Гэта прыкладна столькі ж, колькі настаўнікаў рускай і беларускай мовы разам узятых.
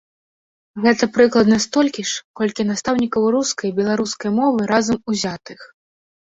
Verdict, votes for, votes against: rejected, 0, 2